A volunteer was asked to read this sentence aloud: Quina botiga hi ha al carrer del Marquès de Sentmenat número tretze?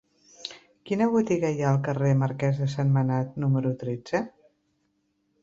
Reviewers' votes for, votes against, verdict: 1, 2, rejected